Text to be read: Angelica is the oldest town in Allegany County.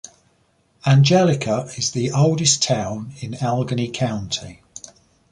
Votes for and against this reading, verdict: 3, 0, accepted